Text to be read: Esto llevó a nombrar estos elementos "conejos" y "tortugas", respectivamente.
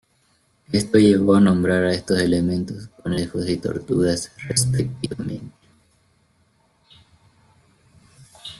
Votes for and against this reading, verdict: 1, 2, rejected